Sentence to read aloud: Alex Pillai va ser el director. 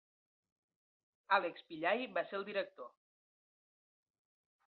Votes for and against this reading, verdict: 2, 1, accepted